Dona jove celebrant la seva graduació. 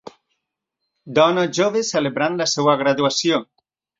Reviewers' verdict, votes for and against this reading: rejected, 1, 2